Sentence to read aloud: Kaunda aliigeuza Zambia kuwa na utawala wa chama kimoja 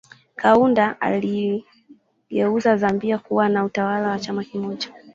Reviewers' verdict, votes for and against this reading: rejected, 1, 3